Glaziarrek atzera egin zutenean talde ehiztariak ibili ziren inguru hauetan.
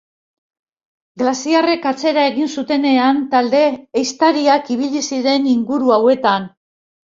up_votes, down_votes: 3, 0